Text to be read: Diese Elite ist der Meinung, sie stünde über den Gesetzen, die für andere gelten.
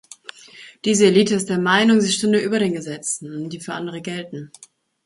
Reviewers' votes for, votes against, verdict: 2, 0, accepted